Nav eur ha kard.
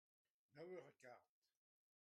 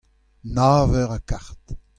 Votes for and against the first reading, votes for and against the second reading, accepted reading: 0, 2, 2, 1, second